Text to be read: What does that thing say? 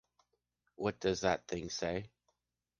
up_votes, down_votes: 2, 0